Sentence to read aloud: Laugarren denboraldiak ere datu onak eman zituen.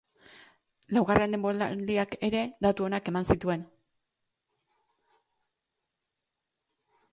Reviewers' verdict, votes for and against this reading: rejected, 0, 2